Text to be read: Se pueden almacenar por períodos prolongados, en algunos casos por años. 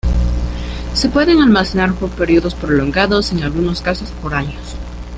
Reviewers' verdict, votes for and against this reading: accepted, 2, 0